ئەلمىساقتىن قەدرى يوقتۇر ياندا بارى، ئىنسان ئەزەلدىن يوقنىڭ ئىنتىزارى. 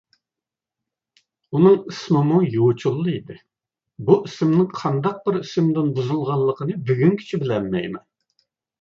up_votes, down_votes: 0, 2